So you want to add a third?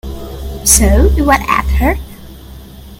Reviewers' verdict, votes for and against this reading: rejected, 0, 2